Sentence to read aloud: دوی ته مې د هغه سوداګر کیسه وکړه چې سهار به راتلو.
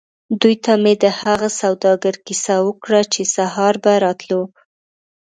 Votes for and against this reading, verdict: 2, 0, accepted